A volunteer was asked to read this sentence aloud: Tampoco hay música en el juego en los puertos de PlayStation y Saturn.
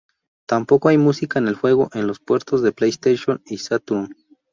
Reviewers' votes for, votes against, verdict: 0, 2, rejected